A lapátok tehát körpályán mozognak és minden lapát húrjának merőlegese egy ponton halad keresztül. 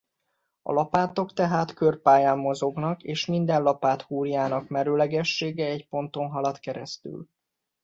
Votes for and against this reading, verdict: 0, 2, rejected